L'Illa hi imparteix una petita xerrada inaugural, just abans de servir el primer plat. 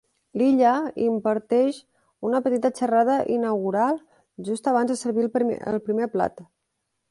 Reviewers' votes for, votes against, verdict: 1, 2, rejected